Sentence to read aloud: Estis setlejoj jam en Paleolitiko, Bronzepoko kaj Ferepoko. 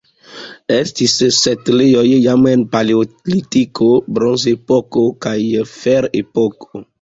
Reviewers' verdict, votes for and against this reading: rejected, 0, 2